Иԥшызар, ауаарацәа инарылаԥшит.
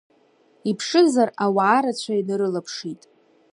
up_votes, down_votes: 2, 0